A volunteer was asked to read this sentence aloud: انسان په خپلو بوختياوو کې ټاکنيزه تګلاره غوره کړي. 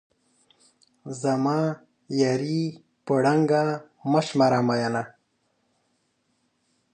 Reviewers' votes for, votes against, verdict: 1, 4, rejected